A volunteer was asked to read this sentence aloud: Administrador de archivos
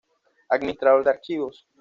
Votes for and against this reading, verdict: 2, 0, accepted